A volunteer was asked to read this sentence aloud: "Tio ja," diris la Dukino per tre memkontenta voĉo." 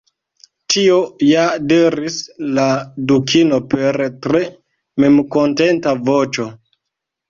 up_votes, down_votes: 2, 0